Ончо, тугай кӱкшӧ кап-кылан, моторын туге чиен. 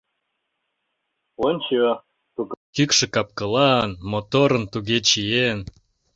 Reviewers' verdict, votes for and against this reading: rejected, 1, 2